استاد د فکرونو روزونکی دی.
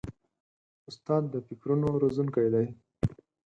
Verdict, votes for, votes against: accepted, 4, 0